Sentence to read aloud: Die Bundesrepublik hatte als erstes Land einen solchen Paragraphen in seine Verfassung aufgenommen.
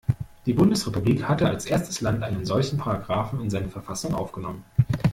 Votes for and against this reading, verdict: 1, 2, rejected